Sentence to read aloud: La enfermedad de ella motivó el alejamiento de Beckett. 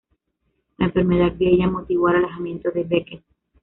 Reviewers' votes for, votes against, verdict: 0, 2, rejected